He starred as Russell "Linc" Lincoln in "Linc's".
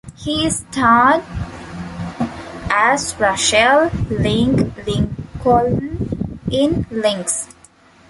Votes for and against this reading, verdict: 1, 2, rejected